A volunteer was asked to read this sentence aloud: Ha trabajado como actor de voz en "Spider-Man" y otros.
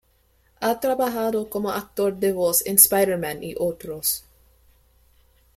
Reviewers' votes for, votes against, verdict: 2, 0, accepted